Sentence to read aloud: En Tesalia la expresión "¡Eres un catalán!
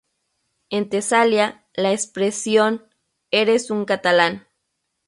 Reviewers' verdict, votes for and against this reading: accepted, 2, 0